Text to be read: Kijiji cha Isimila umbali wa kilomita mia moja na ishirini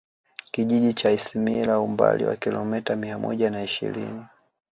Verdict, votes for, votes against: accepted, 2, 0